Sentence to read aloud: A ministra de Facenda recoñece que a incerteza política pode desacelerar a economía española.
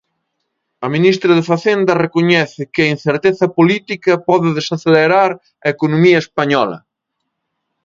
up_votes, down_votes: 2, 0